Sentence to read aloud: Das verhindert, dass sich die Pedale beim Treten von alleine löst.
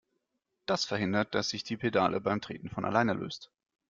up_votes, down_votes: 2, 0